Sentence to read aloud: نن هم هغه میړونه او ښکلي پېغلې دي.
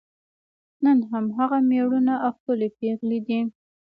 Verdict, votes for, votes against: accepted, 2, 0